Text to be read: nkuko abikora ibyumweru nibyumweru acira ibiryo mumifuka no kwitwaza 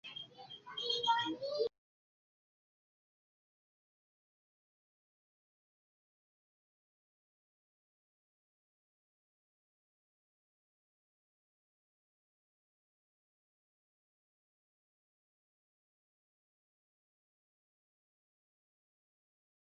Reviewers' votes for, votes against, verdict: 0, 2, rejected